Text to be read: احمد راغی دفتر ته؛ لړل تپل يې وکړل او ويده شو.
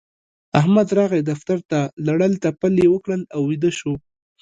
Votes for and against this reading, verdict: 0, 2, rejected